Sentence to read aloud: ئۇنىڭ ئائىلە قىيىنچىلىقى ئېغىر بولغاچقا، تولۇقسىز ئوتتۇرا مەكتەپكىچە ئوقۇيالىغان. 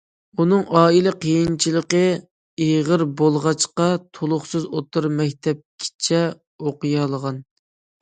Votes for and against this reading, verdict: 2, 0, accepted